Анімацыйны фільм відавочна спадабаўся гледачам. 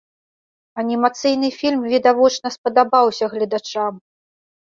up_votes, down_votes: 2, 0